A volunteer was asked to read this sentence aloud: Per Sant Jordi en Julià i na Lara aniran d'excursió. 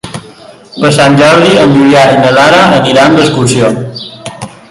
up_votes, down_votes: 1, 2